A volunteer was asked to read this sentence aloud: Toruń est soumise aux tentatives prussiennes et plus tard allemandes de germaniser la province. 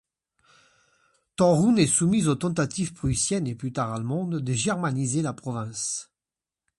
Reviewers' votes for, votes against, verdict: 2, 1, accepted